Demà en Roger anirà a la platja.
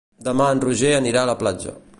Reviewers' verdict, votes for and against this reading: accepted, 2, 0